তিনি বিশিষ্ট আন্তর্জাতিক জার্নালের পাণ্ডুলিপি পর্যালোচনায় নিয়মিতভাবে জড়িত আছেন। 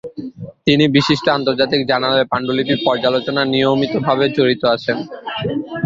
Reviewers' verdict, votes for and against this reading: rejected, 0, 2